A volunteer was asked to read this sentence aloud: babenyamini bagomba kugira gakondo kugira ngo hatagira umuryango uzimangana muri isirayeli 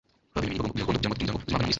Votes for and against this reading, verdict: 1, 2, rejected